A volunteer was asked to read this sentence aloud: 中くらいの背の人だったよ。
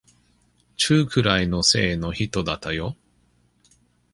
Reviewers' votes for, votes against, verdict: 1, 2, rejected